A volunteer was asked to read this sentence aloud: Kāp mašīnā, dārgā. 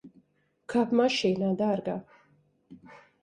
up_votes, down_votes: 2, 0